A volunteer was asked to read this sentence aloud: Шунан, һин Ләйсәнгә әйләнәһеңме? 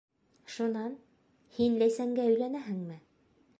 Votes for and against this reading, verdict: 1, 2, rejected